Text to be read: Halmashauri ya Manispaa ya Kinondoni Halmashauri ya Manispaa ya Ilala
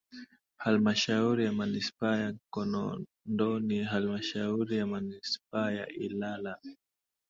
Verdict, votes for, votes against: accepted, 2, 0